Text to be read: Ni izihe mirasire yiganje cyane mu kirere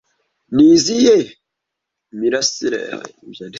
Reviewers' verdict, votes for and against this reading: rejected, 1, 2